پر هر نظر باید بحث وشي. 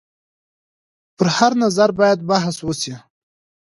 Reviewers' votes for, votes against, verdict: 2, 0, accepted